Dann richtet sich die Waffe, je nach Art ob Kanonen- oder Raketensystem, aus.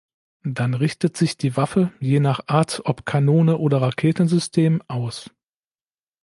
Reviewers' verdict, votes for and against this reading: rejected, 1, 2